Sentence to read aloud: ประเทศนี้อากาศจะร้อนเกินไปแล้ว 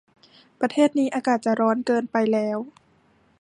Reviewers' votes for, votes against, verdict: 2, 0, accepted